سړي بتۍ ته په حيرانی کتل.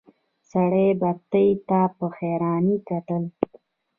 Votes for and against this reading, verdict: 1, 2, rejected